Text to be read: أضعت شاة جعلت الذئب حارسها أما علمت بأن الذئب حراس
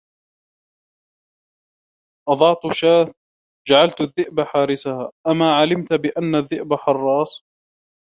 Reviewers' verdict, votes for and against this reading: rejected, 1, 2